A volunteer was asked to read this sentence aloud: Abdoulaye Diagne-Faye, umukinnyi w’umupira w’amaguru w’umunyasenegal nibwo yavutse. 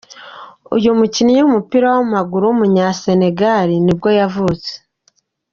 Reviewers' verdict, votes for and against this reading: rejected, 1, 2